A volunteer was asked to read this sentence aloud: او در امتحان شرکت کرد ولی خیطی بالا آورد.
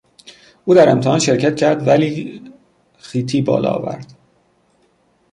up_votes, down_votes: 0, 2